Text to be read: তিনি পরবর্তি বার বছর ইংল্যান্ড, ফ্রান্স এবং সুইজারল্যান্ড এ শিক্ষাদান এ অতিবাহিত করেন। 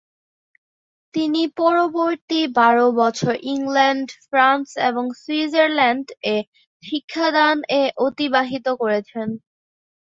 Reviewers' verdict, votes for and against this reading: rejected, 2, 2